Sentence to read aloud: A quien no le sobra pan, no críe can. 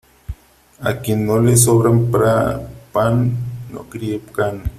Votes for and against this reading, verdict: 0, 3, rejected